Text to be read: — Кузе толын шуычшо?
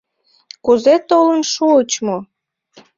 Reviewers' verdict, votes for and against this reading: rejected, 1, 2